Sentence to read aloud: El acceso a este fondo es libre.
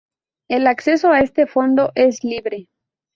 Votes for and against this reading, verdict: 2, 0, accepted